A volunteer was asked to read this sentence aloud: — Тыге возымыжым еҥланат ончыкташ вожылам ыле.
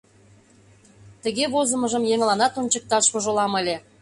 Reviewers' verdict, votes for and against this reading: accepted, 2, 0